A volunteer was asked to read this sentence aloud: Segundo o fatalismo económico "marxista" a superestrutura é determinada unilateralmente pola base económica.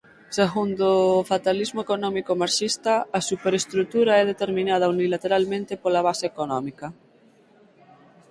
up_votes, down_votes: 6, 0